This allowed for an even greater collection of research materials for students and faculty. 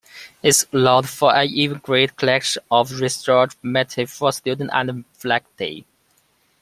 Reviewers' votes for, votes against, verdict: 1, 2, rejected